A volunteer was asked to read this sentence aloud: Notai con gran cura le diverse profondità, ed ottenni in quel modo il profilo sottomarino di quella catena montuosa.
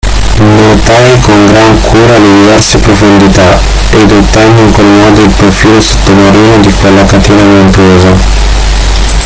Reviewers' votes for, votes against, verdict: 0, 2, rejected